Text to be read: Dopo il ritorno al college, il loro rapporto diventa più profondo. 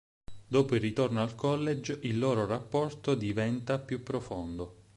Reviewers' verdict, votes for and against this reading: accepted, 8, 0